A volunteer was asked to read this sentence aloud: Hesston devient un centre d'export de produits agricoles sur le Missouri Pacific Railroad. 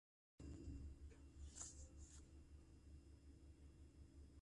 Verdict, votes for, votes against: rejected, 0, 2